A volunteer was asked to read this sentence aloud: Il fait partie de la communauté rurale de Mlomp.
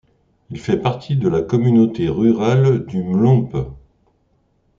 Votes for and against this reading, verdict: 1, 2, rejected